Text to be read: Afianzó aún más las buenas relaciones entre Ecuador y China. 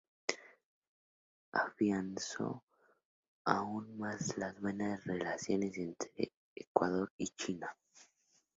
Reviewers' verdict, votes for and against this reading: rejected, 2, 2